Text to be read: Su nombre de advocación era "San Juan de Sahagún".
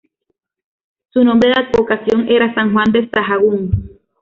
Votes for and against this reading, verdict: 2, 0, accepted